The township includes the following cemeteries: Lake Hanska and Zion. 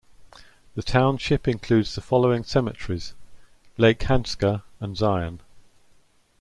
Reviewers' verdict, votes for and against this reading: accepted, 2, 0